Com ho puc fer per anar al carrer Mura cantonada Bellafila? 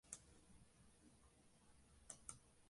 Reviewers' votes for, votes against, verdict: 0, 2, rejected